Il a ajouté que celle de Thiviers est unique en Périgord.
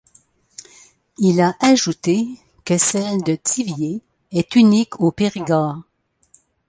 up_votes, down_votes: 0, 2